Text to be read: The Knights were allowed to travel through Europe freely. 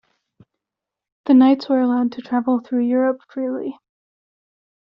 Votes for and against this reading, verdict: 2, 0, accepted